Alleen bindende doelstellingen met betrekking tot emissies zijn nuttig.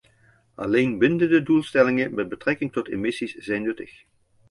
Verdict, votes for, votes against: accepted, 2, 0